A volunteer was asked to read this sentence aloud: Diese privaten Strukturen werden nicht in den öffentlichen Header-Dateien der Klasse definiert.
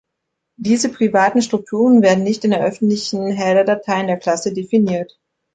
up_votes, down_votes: 1, 2